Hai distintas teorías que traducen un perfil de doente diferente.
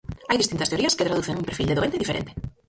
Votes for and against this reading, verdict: 0, 4, rejected